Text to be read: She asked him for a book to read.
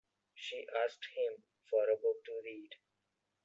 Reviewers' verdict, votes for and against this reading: accepted, 2, 1